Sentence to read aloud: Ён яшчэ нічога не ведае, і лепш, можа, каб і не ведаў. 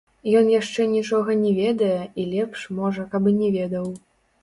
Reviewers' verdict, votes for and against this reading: rejected, 1, 2